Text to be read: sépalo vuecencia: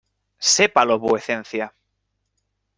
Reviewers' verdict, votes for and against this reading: accepted, 2, 0